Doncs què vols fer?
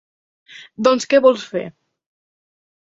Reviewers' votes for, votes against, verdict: 0, 2, rejected